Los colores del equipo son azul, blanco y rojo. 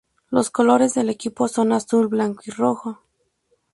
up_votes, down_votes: 2, 2